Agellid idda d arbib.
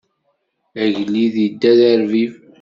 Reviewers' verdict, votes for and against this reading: accepted, 2, 0